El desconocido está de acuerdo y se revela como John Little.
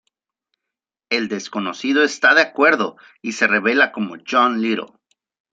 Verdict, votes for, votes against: accepted, 2, 0